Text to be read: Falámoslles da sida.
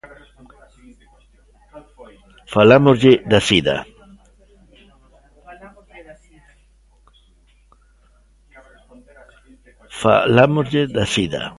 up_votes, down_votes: 0, 2